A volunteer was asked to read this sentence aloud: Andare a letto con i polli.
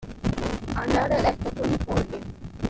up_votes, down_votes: 2, 1